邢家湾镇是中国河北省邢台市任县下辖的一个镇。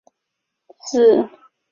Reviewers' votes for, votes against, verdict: 0, 2, rejected